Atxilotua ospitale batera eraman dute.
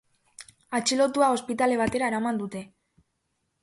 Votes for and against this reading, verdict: 2, 0, accepted